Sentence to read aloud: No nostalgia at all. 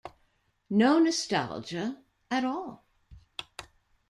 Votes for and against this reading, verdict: 2, 0, accepted